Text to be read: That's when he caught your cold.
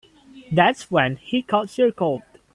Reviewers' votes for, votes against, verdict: 2, 3, rejected